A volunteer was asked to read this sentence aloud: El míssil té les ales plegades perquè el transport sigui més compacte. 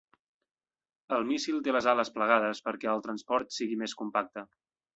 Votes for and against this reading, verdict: 3, 0, accepted